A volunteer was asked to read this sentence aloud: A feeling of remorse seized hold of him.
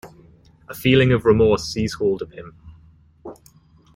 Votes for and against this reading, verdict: 2, 0, accepted